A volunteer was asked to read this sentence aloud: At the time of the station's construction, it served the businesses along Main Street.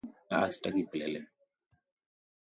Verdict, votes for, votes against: rejected, 0, 2